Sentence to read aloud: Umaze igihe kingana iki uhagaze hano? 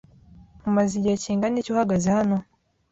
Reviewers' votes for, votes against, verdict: 2, 0, accepted